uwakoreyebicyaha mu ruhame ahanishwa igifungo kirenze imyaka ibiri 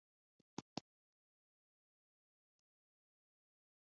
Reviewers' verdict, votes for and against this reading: rejected, 1, 2